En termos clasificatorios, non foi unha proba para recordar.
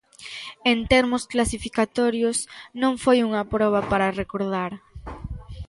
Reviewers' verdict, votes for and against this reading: accepted, 2, 0